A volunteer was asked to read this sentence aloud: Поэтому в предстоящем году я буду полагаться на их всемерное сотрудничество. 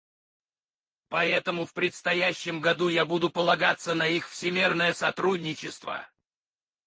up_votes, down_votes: 2, 4